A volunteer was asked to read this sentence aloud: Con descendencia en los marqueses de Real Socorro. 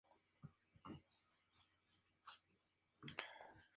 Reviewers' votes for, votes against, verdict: 2, 0, accepted